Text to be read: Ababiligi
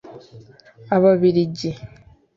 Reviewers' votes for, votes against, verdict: 2, 0, accepted